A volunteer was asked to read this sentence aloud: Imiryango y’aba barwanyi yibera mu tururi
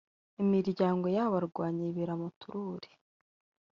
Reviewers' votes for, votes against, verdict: 0, 2, rejected